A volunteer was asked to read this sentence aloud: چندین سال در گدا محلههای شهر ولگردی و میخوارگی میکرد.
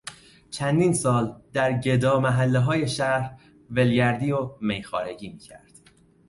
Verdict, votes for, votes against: accepted, 2, 0